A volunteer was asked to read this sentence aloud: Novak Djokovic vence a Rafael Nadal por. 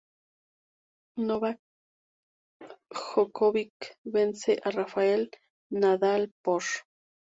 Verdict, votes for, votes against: accepted, 2, 0